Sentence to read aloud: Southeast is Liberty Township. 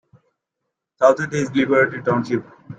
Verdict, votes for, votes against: rejected, 0, 2